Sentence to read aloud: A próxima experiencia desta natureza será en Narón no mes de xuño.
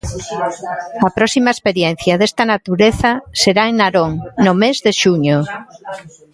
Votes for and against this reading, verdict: 2, 0, accepted